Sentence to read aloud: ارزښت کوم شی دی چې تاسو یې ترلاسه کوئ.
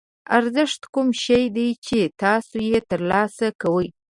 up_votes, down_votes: 3, 0